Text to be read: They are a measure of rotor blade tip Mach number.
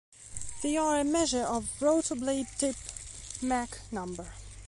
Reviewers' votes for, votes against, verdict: 2, 0, accepted